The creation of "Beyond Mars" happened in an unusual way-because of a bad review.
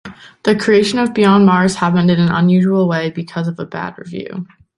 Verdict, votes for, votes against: accepted, 3, 0